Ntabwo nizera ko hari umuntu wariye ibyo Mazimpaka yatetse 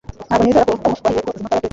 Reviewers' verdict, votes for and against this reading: rejected, 0, 2